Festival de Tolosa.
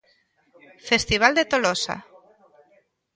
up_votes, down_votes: 1, 2